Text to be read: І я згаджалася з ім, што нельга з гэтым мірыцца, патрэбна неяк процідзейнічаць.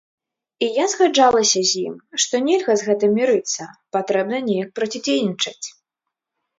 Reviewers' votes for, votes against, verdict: 2, 0, accepted